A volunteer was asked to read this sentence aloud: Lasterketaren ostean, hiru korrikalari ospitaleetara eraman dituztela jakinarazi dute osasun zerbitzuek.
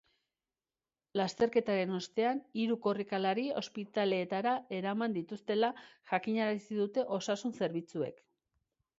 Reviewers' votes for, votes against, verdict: 3, 0, accepted